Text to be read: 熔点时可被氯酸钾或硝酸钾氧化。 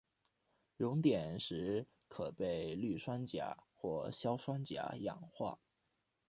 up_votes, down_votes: 0, 2